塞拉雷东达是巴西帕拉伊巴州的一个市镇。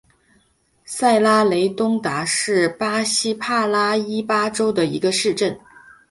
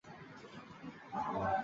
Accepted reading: first